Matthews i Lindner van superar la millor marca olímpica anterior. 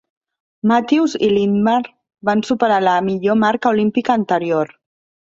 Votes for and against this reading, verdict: 1, 2, rejected